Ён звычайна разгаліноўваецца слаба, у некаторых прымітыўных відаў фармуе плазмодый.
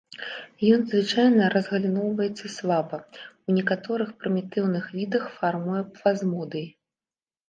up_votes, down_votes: 1, 2